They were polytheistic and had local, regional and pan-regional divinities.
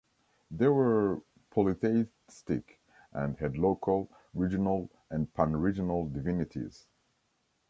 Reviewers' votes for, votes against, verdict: 1, 2, rejected